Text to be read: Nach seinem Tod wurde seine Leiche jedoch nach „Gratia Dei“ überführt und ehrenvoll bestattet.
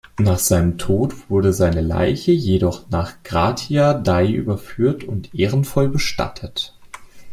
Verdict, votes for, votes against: rejected, 1, 2